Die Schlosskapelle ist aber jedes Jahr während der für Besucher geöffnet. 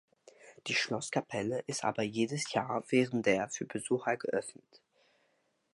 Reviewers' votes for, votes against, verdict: 2, 0, accepted